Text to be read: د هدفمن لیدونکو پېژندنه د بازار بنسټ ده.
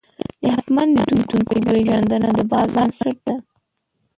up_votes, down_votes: 0, 2